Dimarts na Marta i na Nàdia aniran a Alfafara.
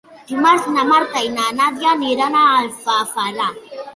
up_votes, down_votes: 0, 3